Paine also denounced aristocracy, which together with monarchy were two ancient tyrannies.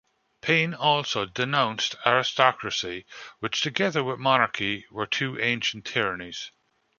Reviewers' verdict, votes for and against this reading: accepted, 2, 1